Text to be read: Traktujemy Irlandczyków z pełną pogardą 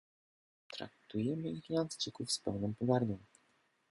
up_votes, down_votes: 0, 2